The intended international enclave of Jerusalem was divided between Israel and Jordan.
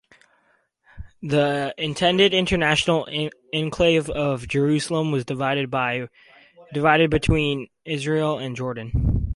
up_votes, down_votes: 2, 2